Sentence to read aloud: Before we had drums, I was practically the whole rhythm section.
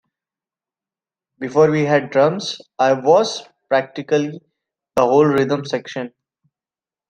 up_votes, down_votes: 2, 0